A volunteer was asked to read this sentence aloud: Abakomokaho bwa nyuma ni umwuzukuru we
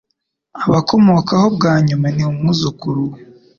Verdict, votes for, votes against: accepted, 2, 0